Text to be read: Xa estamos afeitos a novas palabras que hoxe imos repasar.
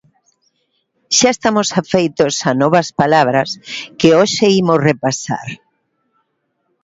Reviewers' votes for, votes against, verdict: 2, 0, accepted